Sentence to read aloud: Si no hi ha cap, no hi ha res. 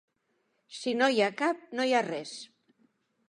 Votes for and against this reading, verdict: 2, 0, accepted